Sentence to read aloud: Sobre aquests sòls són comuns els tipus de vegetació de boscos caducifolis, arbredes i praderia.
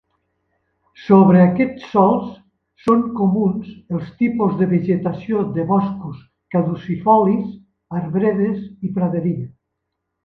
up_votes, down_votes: 2, 0